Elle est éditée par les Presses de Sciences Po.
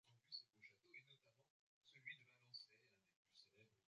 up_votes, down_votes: 0, 2